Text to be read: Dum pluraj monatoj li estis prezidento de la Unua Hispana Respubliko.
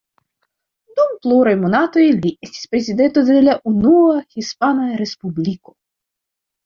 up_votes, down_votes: 2, 1